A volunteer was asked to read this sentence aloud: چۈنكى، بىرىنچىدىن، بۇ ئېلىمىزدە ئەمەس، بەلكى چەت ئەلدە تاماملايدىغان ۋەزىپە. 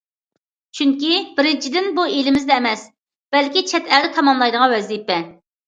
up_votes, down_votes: 2, 0